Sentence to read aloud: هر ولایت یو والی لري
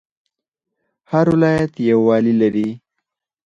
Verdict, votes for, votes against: accepted, 4, 0